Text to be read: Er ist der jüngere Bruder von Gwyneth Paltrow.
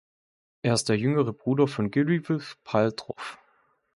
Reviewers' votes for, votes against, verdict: 0, 2, rejected